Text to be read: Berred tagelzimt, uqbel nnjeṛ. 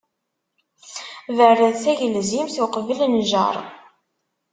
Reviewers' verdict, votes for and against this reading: accepted, 2, 0